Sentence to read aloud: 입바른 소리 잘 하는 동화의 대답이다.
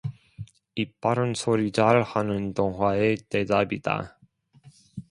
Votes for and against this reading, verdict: 2, 0, accepted